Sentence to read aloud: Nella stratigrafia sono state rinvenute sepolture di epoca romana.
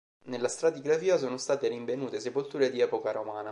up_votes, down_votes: 2, 1